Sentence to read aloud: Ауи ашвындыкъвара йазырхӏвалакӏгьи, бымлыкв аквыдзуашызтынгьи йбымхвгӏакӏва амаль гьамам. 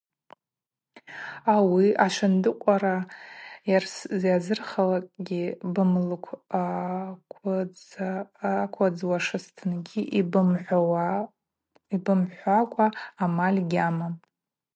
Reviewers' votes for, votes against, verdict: 0, 2, rejected